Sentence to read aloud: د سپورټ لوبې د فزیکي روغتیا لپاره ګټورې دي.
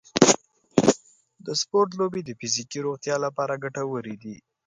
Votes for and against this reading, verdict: 4, 0, accepted